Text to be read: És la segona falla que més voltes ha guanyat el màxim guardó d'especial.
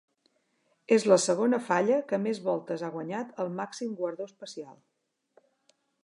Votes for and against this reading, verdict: 1, 2, rejected